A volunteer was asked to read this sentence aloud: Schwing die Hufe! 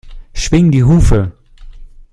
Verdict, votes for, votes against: accepted, 2, 0